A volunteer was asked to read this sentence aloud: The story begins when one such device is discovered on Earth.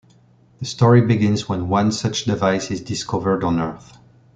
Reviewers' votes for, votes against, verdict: 3, 0, accepted